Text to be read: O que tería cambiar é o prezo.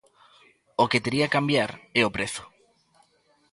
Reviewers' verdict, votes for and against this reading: accepted, 2, 0